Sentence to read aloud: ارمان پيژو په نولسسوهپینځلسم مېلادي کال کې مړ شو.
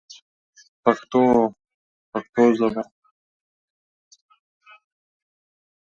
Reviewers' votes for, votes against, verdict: 0, 2, rejected